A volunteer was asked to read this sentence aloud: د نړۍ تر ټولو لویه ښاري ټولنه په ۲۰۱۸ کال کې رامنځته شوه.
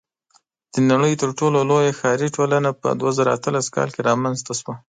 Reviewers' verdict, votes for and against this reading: rejected, 0, 2